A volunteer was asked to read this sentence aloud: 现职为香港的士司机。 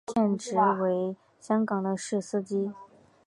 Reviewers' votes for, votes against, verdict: 3, 2, accepted